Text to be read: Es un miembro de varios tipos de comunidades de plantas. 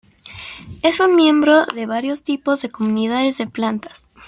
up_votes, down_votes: 2, 0